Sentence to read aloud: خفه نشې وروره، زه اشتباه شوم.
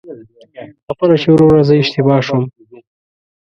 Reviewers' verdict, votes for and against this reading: rejected, 1, 2